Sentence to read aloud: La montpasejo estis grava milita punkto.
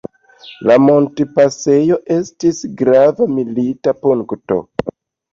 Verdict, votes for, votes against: accepted, 2, 0